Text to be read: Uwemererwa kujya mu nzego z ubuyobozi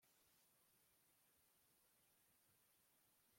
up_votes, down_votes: 1, 2